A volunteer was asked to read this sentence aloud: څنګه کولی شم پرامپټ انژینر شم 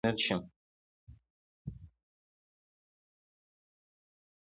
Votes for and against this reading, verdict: 2, 3, rejected